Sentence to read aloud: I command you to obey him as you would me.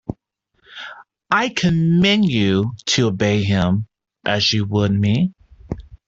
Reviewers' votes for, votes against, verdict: 2, 1, accepted